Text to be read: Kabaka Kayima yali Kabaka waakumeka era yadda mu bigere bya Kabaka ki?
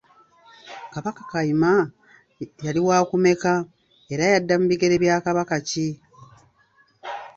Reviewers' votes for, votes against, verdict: 0, 2, rejected